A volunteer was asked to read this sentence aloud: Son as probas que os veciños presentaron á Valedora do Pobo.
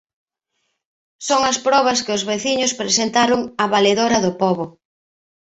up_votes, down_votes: 2, 0